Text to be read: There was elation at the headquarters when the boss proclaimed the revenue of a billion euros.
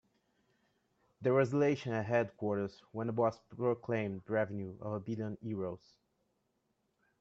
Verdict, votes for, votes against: rejected, 0, 2